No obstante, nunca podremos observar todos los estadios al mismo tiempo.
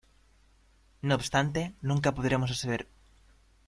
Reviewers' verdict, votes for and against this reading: rejected, 0, 2